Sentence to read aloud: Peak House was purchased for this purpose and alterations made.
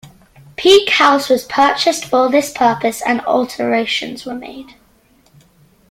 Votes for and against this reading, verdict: 0, 2, rejected